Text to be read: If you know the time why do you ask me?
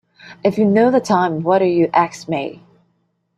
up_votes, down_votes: 0, 2